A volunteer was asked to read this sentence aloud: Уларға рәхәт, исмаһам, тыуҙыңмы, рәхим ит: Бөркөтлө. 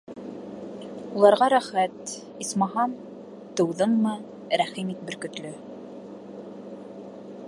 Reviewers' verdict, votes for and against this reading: rejected, 1, 2